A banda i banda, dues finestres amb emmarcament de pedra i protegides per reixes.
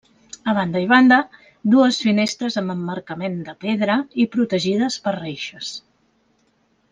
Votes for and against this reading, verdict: 3, 0, accepted